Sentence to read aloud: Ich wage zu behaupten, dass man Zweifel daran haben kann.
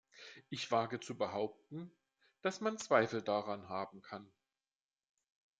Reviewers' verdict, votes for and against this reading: accepted, 2, 0